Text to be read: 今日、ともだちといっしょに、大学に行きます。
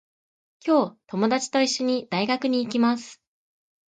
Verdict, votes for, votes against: accepted, 3, 1